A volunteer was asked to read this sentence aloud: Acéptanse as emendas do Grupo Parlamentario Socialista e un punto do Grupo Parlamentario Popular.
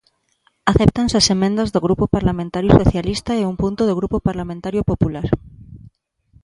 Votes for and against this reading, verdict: 2, 1, accepted